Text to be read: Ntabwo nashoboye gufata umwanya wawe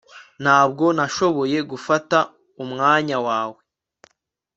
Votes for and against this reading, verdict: 2, 0, accepted